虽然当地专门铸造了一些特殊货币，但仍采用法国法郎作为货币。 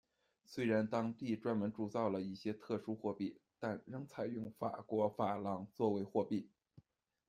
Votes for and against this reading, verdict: 2, 0, accepted